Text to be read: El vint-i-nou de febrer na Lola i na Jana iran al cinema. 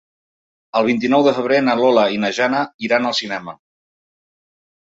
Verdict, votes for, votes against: accepted, 3, 0